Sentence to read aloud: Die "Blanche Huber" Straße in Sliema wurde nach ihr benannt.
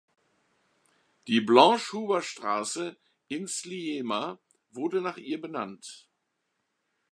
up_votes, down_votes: 2, 1